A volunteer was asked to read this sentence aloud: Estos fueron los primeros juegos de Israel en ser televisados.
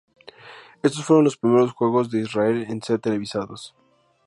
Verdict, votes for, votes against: accepted, 2, 0